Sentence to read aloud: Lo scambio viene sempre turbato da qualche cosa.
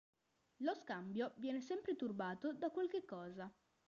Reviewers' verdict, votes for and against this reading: rejected, 1, 3